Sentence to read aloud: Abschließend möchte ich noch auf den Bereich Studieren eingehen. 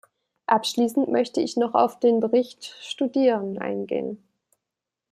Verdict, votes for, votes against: rejected, 0, 2